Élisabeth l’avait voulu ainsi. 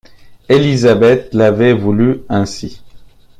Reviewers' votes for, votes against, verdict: 2, 0, accepted